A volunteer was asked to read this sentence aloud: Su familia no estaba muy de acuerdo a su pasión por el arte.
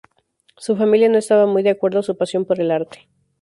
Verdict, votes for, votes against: accepted, 2, 0